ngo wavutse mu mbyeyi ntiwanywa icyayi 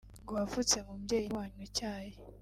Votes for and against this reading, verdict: 2, 0, accepted